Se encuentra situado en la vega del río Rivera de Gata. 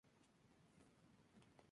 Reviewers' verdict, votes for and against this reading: rejected, 0, 2